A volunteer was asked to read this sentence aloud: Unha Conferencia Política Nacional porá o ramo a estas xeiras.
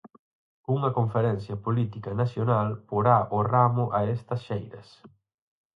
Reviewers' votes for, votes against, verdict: 4, 0, accepted